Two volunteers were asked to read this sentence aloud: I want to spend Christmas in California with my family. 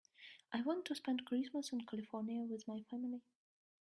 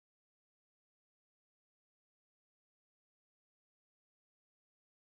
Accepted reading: first